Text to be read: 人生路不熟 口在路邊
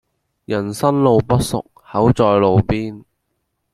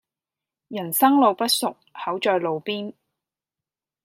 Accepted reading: second